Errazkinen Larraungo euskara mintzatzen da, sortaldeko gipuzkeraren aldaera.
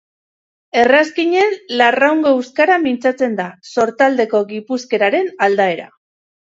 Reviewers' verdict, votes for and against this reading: accepted, 2, 0